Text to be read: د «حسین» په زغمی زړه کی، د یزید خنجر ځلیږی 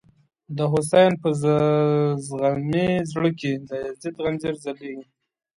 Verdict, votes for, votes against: rejected, 1, 2